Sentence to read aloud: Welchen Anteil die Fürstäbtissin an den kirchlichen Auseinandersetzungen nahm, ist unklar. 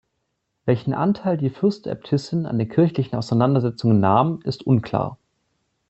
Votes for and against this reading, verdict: 2, 0, accepted